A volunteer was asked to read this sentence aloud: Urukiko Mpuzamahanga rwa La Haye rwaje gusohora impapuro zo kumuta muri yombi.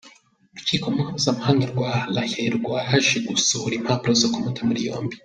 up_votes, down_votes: 1, 2